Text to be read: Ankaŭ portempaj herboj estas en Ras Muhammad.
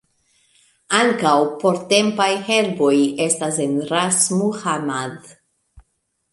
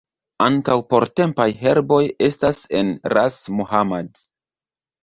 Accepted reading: second